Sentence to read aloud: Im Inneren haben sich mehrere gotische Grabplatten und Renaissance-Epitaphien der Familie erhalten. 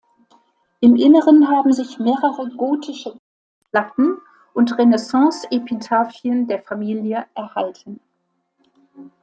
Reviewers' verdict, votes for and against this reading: rejected, 0, 2